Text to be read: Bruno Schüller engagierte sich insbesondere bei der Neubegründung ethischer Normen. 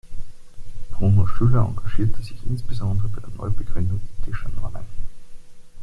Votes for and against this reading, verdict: 2, 1, accepted